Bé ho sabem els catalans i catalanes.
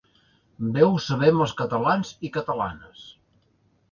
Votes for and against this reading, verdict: 2, 0, accepted